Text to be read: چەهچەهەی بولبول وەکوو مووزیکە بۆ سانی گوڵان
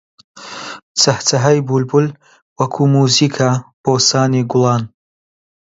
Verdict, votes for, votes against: accepted, 2, 0